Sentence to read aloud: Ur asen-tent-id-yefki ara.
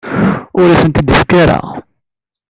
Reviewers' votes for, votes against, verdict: 0, 2, rejected